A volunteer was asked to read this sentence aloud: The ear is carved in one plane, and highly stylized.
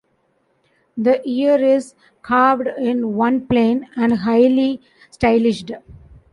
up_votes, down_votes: 0, 2